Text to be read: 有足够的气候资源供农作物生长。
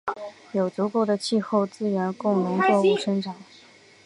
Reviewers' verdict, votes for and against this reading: accepted, 2, 0